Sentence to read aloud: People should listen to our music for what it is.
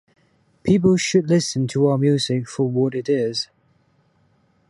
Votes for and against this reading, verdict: 2, 0, accepted